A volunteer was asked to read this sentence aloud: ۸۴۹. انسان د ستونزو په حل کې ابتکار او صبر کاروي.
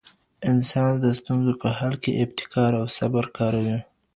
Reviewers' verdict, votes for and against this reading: rejected, 0, 2